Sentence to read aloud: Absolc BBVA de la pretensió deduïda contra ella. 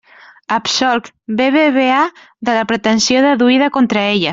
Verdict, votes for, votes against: accepted, 2, 0